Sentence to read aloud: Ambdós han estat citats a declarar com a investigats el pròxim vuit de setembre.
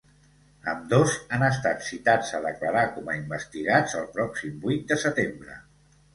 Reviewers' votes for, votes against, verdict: 2, 0, accepted